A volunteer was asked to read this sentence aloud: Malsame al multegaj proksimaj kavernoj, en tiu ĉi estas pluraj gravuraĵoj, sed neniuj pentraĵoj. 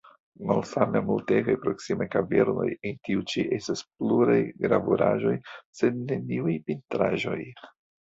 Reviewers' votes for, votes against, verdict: 2, 1, accepted